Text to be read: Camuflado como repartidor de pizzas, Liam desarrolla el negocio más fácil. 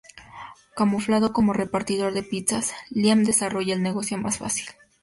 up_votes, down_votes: 2, 2